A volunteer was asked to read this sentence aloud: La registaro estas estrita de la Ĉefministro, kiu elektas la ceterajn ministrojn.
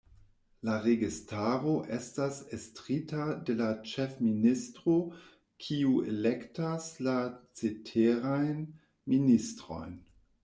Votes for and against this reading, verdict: 2, 1, accepted